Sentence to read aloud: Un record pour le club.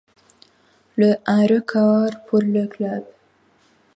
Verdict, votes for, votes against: rejected, 0, 2